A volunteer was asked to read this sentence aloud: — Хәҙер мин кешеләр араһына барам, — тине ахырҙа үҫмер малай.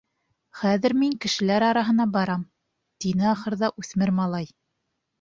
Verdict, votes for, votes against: accepted, 2, 0